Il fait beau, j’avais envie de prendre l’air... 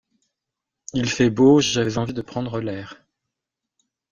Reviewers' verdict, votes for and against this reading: rejected, 1, 2